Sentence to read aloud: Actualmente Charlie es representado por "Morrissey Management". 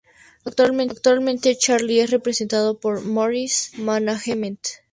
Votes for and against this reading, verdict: 0, 2, rejected